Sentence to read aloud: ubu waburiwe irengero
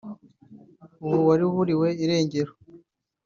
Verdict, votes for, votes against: rejected, 0, 4